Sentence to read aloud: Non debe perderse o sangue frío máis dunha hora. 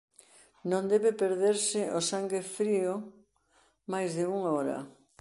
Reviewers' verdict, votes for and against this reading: accepted, 2, 0